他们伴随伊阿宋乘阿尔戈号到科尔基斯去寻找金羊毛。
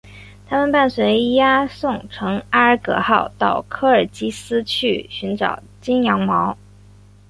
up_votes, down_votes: 5, 0